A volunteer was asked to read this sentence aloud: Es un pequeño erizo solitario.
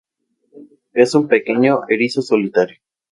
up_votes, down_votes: 2, 0